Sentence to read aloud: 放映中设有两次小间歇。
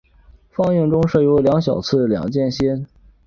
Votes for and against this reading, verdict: 0, 2, rejected